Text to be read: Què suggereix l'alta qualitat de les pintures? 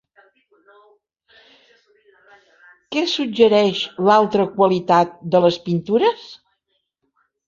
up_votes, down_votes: 2, 1